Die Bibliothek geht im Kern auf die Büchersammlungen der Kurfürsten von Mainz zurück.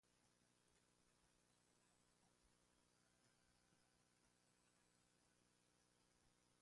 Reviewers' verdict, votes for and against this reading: rejected, 0, 2